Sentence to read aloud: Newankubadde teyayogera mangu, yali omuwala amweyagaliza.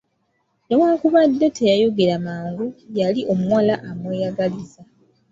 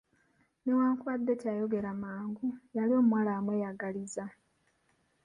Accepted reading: first